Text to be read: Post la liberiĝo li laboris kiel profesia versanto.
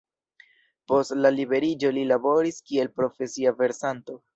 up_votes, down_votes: 1, 2